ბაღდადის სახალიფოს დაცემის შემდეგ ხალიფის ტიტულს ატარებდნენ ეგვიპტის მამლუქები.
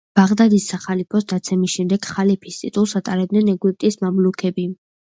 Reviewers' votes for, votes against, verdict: 1, 2, rejected